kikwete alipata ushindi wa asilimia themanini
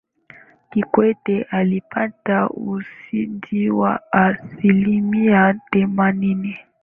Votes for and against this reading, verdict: 5, 4, accepted